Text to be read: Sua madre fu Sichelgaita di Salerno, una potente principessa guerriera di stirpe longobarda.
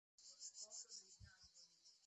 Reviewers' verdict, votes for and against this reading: rejected, 0, 2